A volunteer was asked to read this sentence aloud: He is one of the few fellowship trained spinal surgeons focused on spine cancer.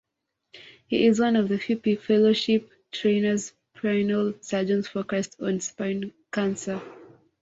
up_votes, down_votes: 0, 2